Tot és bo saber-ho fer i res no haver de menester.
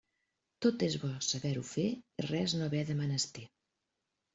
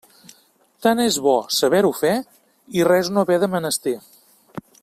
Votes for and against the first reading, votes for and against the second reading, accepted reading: 2, 0, 0, 2, first